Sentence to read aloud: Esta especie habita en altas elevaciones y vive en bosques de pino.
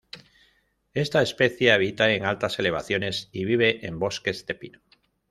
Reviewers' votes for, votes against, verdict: 2, 0, accepted